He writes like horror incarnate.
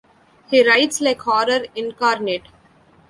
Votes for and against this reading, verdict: 1, 2, rejected